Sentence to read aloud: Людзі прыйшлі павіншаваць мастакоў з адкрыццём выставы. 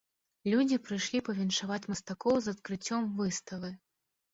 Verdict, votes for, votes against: rejected, 1, 2